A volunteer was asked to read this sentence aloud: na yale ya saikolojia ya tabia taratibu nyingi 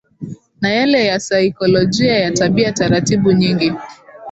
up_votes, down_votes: 0, 2